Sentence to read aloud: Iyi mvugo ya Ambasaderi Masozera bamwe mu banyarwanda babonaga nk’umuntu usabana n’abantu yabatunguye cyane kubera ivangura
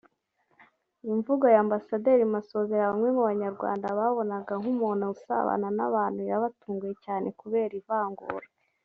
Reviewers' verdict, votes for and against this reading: rejected, 1, 2